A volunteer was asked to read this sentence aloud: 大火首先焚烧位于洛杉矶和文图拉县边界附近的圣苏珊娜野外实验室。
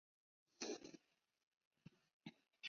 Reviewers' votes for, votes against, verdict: 0, 2, rejected